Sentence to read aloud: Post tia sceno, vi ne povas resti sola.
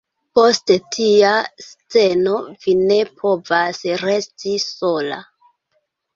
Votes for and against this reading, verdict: 2, 0, accepted